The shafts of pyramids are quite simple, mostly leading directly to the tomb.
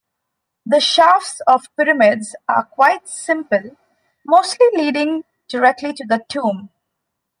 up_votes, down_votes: 2, 0